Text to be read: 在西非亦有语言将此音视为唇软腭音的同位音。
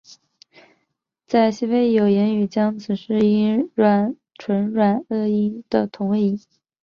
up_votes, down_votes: 0, 3